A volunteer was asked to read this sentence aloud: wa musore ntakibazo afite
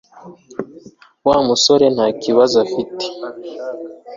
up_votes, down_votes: 3, 0